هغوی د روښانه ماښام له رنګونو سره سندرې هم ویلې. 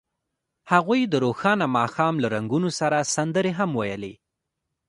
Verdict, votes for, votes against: rejected, 1, 2